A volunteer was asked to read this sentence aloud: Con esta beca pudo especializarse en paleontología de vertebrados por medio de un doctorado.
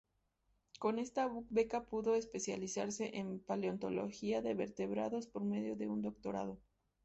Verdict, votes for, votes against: accepted, 4, 0